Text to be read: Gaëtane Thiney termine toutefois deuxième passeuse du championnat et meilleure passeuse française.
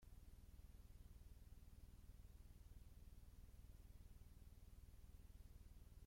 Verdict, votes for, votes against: rejected, 0, 2